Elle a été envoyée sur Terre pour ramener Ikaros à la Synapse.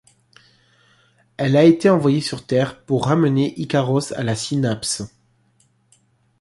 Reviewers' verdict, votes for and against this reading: accepted, 2, 0